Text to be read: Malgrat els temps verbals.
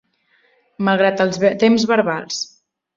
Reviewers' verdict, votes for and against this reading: rejected, 1, 2